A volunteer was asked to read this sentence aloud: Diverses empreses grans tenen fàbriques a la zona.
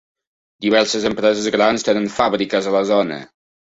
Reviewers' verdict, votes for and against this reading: rejected, 1, 2